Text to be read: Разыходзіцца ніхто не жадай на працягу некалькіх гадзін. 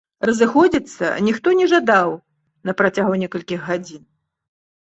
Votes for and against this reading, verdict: 0, 2, rejected